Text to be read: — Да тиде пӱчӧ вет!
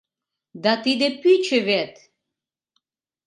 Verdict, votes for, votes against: accepted, 2, 0